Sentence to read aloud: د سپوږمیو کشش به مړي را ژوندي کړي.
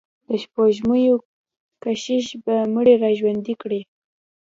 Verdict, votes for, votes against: accepted, 2, 0